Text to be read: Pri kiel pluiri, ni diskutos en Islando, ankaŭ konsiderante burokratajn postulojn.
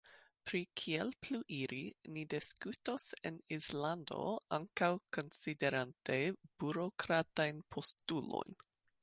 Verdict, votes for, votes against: rejected, 1, 3